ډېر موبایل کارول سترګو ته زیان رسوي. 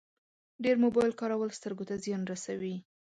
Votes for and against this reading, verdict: 2, 0, accepted